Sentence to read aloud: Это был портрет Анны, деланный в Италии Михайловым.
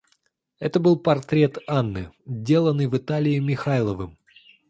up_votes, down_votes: 2, 0